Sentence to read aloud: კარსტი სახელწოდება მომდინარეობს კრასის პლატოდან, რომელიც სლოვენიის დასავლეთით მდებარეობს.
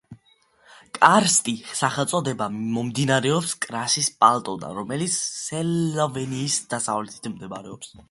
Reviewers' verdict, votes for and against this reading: rejected, 0, 2